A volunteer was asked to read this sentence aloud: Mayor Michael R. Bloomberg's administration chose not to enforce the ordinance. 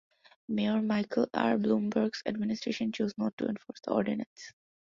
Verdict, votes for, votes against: accepted, 2, 0